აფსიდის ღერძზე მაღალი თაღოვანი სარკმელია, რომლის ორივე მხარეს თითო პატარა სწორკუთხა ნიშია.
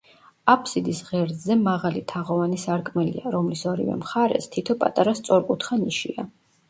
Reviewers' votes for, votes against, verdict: 0, 2, rejected